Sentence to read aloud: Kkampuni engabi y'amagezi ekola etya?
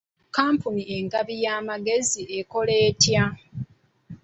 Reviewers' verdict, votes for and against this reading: accepted, 3, 1